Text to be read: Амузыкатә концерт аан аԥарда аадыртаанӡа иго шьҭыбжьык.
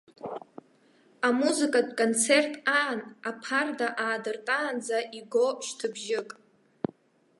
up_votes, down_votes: 1, 2